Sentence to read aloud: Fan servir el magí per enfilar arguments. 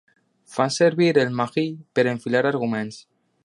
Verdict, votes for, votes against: rejected, 0, 2